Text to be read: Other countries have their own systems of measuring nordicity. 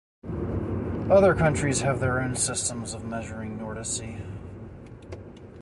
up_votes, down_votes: 1, 2